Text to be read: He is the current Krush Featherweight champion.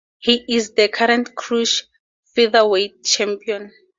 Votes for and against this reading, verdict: 0, 2, rejected